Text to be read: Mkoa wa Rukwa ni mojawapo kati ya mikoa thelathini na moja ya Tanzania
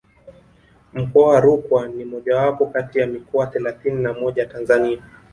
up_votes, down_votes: 1, 2